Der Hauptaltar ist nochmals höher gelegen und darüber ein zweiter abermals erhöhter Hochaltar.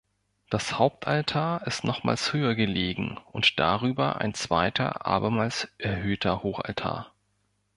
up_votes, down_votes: 0, 2